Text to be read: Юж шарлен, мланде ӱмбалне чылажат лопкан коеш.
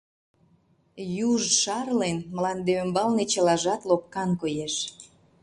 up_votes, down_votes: 2, 0